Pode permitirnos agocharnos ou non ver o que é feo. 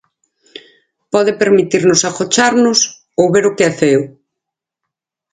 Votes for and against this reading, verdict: 2, 4, rejected